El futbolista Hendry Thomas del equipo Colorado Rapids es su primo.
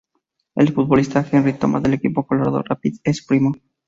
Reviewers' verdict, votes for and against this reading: rejected, 0, 2